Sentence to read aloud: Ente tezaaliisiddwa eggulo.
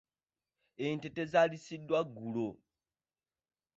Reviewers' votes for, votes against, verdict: 1, 2, rejected